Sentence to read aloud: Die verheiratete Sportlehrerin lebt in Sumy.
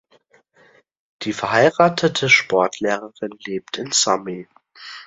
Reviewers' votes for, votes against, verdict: 2, 0, accepted